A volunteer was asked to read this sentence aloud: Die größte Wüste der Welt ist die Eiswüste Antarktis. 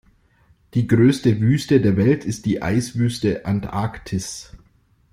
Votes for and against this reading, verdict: 2, 0, accepted